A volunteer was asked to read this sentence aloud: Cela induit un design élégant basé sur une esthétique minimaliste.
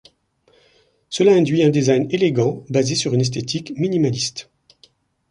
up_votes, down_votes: 2, 0